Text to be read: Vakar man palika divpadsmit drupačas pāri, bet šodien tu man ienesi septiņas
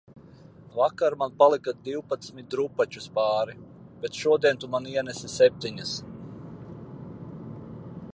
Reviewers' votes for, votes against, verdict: 2, 0, accepted